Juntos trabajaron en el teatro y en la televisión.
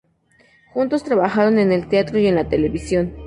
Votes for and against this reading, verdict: 2, 0, accepted